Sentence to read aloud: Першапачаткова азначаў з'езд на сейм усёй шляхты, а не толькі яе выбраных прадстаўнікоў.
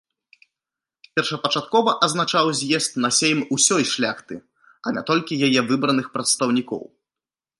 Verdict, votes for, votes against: rejected, 1, 2